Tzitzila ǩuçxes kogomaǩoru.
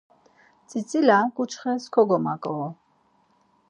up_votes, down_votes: 4, 0